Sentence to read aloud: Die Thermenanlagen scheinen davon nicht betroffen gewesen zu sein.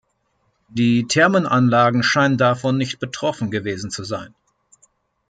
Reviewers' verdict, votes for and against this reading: rejected, 0, 2